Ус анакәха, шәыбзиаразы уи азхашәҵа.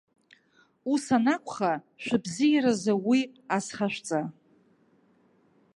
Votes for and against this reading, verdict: 3, 0, accepted